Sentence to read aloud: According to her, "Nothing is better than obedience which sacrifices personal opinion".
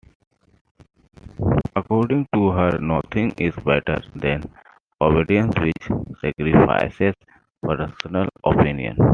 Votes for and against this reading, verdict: 2, 1, accepted